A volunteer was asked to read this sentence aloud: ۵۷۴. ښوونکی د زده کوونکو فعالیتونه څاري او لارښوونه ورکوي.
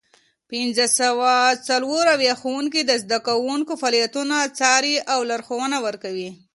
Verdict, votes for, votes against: rejected, 0, 2